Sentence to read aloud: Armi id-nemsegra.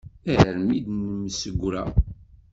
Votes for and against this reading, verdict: 1, 2, rejected